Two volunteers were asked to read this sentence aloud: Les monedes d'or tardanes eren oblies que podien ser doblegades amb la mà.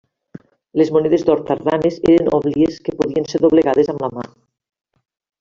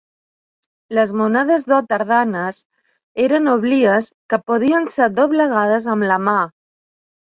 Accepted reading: second